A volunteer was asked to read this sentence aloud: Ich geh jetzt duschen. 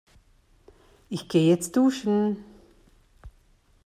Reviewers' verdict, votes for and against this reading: accepted, 2, 0